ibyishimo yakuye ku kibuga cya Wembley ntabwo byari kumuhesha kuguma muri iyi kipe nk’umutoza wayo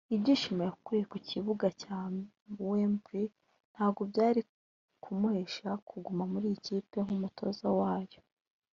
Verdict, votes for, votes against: rejected, 1, 2